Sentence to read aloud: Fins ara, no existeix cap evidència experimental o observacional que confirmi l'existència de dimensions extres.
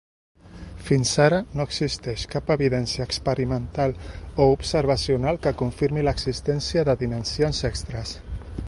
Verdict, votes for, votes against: accepted, 3, 0